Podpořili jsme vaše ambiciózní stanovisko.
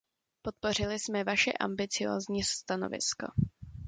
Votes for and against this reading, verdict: 2, 0, accepted